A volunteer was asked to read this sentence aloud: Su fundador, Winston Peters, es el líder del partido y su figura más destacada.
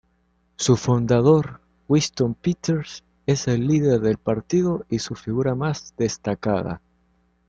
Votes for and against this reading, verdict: 2, 0, accepted